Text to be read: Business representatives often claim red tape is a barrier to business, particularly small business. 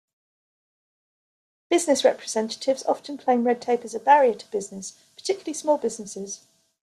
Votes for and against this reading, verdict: 1, 2, rejected